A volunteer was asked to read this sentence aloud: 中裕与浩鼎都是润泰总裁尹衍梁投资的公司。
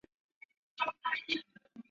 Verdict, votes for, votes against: rejected, 0, 3